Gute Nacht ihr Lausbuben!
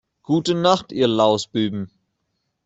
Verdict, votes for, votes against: rejected, 1, 2